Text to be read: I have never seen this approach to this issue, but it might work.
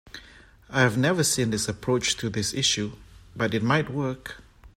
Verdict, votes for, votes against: accepted, 2, 0